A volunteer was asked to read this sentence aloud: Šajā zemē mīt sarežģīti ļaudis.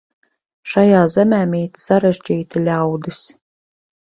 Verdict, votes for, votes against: accepted, 4, 0